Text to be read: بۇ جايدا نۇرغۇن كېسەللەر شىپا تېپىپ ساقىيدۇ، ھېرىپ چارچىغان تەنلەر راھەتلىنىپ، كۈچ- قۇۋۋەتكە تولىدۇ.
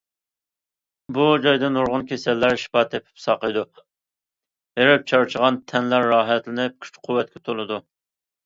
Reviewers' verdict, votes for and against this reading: accepted, 2, 0